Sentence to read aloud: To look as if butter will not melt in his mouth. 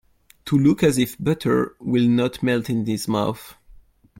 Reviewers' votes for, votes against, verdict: 1, 2, rejected